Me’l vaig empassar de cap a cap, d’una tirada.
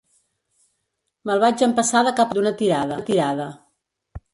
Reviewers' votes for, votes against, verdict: 0, 2, rejected